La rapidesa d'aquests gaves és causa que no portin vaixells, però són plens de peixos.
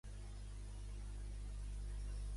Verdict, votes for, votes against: rejected, 1, 2